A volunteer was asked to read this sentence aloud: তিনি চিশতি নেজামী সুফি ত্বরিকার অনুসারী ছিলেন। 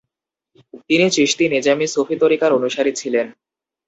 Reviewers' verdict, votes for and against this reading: accepted, 2, 0